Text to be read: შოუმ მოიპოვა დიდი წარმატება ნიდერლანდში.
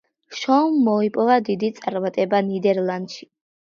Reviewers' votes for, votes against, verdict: 2, 1, accepted